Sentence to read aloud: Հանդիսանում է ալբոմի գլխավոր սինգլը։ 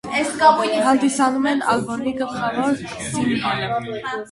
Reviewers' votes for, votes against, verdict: 0, 2, rejected